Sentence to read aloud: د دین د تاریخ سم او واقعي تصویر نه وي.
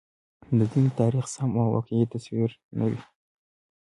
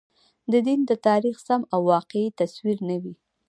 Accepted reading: first